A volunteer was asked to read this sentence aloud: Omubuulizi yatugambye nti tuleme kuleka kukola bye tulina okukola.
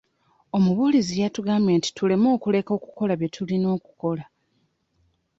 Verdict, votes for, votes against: accepted, 2, 1